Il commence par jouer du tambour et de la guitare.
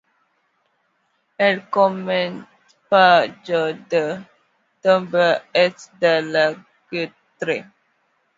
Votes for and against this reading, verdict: 0, 2, rejected